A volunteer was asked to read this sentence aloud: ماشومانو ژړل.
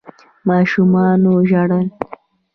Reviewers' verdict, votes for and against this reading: accepted, 2, 1